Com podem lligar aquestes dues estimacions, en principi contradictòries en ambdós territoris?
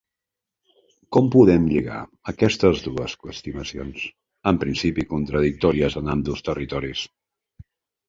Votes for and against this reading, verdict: 0, 2, rejected